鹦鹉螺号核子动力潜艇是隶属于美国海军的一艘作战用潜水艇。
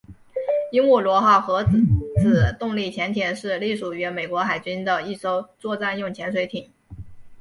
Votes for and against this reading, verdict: 2, 1, accepted